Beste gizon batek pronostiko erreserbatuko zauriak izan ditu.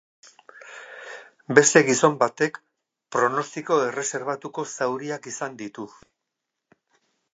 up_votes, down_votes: 2, 0